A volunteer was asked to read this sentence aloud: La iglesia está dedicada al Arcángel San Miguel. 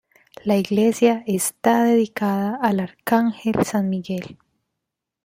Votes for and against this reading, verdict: 1, 3, rejected